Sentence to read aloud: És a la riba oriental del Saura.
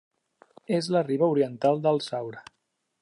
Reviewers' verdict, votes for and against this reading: rejected, 0, 2